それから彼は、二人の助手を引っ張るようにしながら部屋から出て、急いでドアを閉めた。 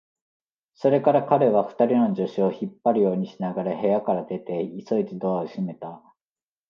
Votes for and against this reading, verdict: 2, 0, accepted